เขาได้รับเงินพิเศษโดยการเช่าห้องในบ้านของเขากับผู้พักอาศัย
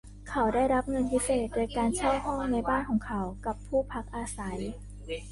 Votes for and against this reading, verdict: 2, 1, accepted